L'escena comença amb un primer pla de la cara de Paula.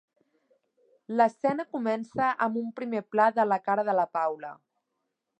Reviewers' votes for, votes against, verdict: 1, 2, rejected